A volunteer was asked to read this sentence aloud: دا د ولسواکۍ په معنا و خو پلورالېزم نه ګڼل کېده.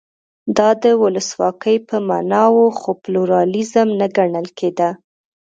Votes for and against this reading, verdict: 2, 0, accepted